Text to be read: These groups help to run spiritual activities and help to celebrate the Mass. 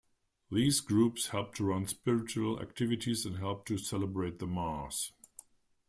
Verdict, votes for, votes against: accepted, 2, 0